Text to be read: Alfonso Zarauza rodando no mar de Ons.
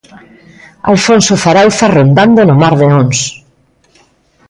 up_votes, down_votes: 2, 1